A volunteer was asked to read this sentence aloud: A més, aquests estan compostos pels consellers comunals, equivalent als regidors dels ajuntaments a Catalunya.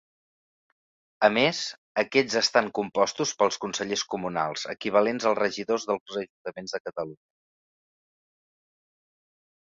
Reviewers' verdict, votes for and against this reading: rejected, 1, 2